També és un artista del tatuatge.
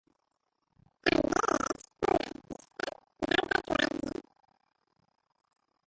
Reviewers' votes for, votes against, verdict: 0, 2, rejected